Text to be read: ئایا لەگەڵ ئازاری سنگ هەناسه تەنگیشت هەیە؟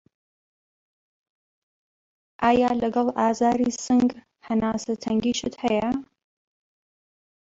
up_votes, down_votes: 0, 2